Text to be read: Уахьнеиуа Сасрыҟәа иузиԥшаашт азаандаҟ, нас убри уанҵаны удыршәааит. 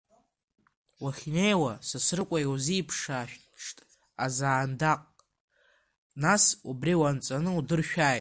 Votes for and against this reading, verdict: 2, 1, accepted